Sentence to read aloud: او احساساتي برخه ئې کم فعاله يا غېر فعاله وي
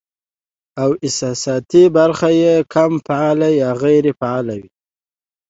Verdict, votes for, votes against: accepted, 2, 0